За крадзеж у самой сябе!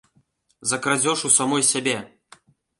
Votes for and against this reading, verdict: 1, 2, rejected